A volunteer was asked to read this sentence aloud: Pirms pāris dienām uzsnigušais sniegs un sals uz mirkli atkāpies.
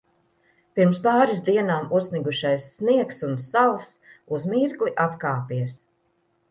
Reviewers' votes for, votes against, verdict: 2, 0, accepted